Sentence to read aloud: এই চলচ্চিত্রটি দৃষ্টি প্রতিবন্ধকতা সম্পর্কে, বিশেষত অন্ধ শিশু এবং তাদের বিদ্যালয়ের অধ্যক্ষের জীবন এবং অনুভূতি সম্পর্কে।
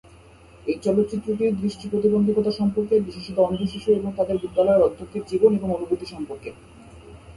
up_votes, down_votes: 0, 2